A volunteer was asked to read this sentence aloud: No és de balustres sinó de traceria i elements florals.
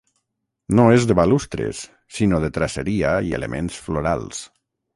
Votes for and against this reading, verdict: 6, 0, accepted